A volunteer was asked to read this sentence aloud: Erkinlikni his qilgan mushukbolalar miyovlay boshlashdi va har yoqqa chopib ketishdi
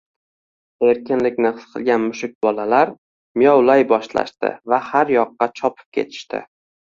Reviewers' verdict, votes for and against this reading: accepted, 2, 0